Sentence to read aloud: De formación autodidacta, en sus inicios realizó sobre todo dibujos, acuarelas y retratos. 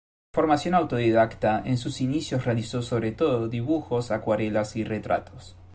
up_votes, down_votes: 0, 2